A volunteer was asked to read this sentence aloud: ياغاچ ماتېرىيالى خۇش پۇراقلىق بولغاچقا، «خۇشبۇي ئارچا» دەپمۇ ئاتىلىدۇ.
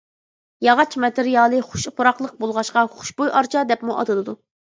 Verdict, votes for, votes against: accepted, 2, 0